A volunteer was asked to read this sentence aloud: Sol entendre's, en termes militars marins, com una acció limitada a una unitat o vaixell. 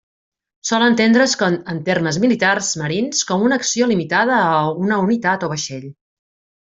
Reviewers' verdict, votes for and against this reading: rejected, 0, 2